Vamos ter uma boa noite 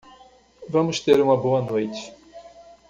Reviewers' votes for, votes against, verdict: 2, 1, accepted